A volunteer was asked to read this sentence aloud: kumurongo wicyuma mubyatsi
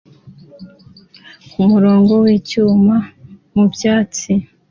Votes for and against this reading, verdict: 2, 0, accepted